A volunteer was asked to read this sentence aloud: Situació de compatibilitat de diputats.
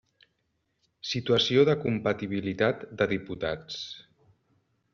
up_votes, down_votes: 3, 0